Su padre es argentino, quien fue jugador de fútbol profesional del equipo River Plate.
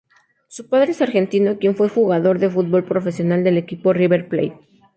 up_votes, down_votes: 4, 0